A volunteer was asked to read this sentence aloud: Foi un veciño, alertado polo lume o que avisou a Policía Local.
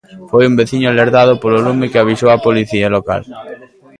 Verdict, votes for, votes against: rejected, 0, 2